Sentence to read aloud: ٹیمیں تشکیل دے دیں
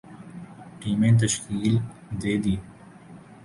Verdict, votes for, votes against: rejected, 0, 2